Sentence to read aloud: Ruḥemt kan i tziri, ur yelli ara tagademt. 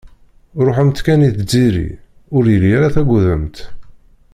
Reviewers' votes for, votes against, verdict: 1, 2, rejected